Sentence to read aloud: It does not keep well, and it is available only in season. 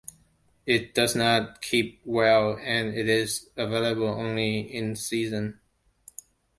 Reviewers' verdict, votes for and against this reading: accepted, 2, 1